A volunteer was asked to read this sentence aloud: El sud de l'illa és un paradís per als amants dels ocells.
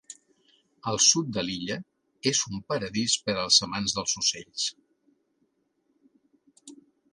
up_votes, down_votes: 3, 0